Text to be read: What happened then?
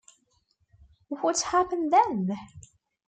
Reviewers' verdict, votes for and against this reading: accepted, 2, 0